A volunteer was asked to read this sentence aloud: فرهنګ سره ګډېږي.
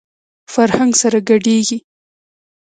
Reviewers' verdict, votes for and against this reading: accepted, 2, 0